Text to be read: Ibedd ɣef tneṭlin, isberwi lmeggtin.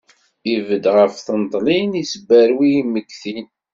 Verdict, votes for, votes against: accepted, 2, 0